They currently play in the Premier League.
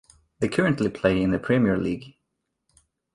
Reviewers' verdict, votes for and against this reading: accepted, 2, 0